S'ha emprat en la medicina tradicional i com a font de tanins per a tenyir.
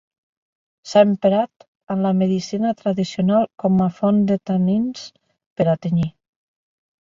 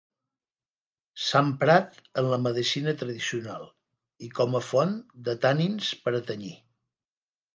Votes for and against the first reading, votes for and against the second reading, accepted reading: 1, 2, 3, 0, second